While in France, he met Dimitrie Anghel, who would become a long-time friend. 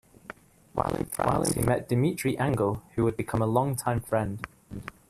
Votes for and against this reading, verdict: 2, 1, accepted